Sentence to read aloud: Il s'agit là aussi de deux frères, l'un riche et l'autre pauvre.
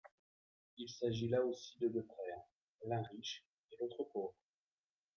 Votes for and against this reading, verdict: 2, 0, accepted